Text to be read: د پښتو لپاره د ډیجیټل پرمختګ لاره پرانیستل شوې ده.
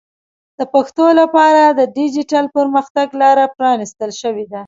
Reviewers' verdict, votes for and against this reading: accepted, 2, 0